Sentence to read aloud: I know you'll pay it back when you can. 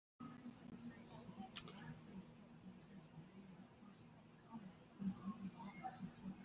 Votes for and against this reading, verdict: 0, 2, rejected